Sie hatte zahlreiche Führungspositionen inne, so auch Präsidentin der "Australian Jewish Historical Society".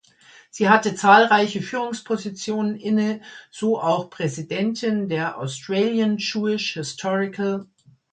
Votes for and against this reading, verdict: 0, 2, rejected